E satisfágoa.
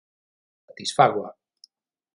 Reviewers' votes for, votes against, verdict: 0, 6, rejected